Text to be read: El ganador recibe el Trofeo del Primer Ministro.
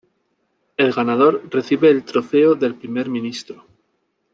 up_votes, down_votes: 1, 2